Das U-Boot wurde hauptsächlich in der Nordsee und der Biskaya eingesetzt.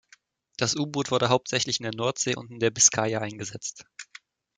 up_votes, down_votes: 1, 2